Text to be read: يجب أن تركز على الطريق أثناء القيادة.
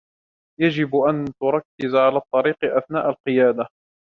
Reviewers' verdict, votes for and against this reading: accepted, 2, 0